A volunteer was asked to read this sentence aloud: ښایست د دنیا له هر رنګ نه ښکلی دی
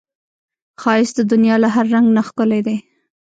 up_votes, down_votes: 1, 2